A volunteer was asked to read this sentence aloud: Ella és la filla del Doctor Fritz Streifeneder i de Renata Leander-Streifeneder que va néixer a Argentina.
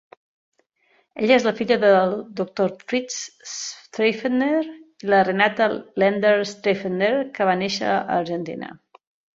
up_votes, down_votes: 0, 2